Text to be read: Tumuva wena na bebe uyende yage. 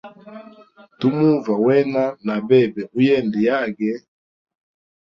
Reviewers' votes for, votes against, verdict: 2, 0, accepted